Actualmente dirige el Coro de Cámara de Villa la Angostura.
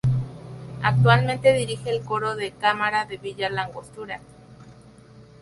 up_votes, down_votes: 0, 2